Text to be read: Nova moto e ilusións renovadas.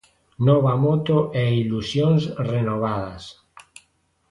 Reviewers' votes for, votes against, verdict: 2, 0, accepted